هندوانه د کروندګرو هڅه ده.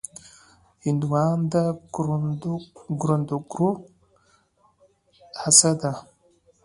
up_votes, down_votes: 2, 0